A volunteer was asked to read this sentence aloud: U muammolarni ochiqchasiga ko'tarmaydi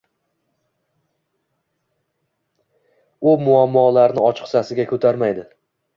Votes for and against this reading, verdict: 2, 0, accepted